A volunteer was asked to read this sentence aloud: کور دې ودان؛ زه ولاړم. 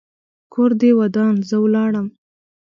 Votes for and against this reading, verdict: 2, 0, accepted